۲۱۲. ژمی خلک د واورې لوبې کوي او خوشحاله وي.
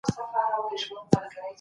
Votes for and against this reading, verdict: 0, 2, rejected